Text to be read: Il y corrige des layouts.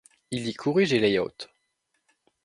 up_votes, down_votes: 0, 2